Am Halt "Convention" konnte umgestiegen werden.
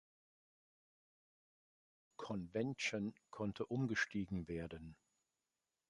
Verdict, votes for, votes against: rejected, 0, 2